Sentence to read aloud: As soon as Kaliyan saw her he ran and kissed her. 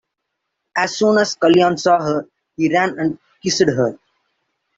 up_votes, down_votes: 0, 2